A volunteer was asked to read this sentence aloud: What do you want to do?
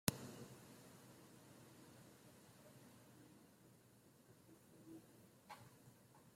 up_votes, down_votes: 0, 2